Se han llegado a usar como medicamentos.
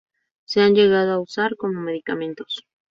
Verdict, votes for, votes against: accepted, 2, 0